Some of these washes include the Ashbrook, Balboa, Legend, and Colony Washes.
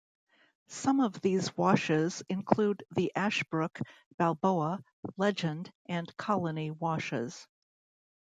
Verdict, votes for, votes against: accepted, 2, 0